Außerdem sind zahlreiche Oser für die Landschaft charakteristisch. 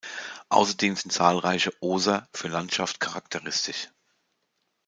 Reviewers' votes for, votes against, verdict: 0, 2, rejected